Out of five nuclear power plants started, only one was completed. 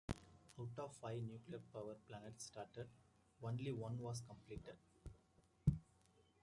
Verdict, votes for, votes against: accepted, 2, 0